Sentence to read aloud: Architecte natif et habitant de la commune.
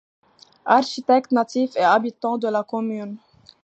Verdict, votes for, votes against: accepted, 2, 0